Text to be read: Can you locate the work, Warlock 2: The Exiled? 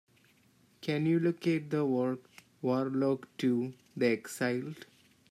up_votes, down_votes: 0, 2